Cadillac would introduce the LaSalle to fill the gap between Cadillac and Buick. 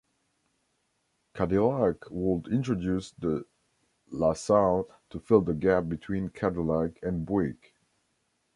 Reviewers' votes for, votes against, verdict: 1, 2, rejected